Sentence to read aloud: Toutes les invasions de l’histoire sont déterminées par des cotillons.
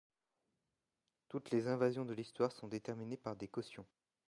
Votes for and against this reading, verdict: 1, 2, rejected